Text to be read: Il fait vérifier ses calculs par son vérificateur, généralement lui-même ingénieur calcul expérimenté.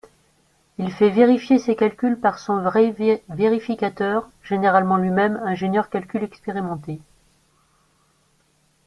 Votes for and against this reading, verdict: 0, 2, rejected